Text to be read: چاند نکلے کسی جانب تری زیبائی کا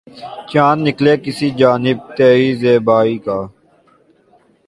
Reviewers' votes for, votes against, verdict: 2, 0, accepted